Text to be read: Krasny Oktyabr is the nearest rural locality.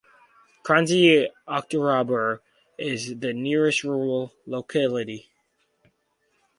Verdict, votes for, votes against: rejected, 0, 4